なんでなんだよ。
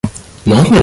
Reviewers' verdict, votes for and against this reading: rejected, 0, 2